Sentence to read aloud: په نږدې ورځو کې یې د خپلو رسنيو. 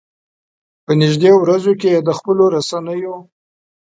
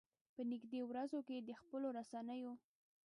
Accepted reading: first